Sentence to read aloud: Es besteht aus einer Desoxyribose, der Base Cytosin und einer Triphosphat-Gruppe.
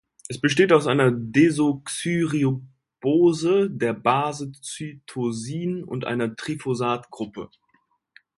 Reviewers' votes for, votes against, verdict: 0, 2, rejected